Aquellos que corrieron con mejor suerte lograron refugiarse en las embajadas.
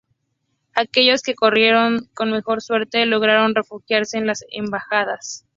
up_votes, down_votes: 4, 0